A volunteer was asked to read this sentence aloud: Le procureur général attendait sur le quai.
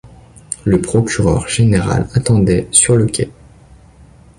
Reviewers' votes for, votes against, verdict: 2, 0, accepted